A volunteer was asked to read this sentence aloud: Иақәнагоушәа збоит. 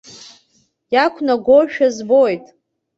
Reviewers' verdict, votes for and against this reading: accepted, 2, 0